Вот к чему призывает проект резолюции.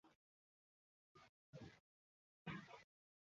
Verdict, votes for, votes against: rejected, 0, 2